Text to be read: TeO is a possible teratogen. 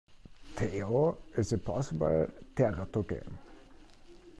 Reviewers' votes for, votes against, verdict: 0, 2, rejected